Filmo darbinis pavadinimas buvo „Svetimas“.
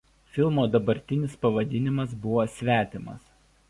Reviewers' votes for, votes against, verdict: 0, 2, rejected